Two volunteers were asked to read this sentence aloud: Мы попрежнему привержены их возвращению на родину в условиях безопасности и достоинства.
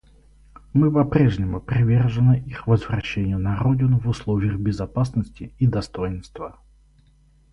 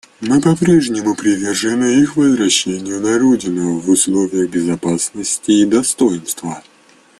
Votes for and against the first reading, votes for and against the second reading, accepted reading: 2, 0, 1, 2, first